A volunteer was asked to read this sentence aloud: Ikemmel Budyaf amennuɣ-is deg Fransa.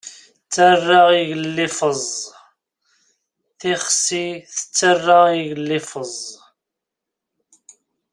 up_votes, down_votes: 0, 2